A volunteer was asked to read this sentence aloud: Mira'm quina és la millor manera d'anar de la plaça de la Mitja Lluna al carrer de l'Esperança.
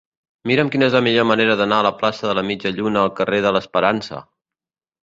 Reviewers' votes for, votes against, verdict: 0, 2, rejected